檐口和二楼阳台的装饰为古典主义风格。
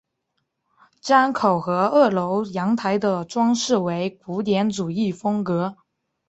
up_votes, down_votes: 2, 0